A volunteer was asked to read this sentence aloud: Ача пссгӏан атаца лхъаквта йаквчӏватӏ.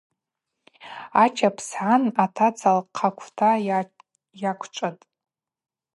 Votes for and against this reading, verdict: 2, 0, accepted